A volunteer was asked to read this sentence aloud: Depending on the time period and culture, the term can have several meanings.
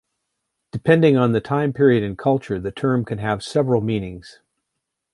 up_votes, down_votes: 2, 0